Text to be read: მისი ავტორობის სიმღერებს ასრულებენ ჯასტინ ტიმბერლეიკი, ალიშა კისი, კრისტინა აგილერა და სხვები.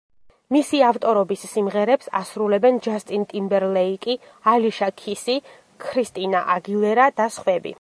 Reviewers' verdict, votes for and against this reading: rejected, 1, 2